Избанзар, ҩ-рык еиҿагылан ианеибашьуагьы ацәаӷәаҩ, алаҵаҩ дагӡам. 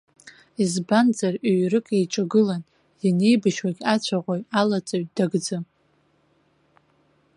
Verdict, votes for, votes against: accepted, 2, 0